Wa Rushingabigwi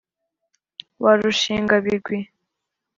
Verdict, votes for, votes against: accepted, 2, 0